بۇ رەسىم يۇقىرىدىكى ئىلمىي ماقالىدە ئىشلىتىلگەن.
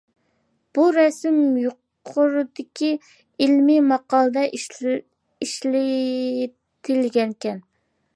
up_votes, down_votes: 0, 2